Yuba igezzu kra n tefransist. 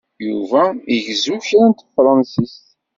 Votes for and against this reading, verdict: 0, 2, rejected